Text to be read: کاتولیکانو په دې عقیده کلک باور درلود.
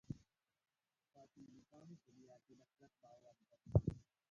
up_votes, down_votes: 0, 2